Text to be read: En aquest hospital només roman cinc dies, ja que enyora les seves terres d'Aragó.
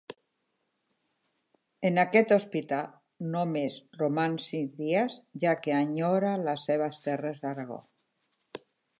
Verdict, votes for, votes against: rejected, 1, 2